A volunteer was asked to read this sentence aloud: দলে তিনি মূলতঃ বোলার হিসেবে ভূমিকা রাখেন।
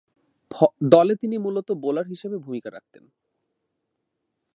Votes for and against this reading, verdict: 0, 2, rejected